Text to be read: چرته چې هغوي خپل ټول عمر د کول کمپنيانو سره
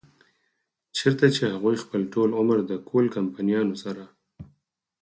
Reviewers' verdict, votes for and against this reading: rejected, 4, 6